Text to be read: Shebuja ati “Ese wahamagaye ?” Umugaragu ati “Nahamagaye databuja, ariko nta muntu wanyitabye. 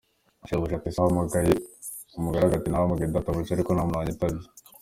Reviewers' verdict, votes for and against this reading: accepted, 2, 0